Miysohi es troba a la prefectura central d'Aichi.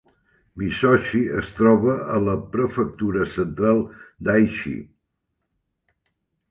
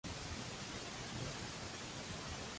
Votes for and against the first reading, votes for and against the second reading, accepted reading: 2, 0, 0, 2, first